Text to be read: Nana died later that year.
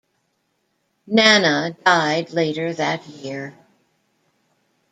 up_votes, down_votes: 1, 2